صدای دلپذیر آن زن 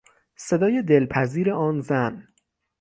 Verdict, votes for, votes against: accepted, 6, 0